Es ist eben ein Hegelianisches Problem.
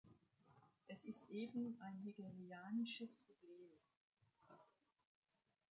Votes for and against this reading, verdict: 1, 2, rejected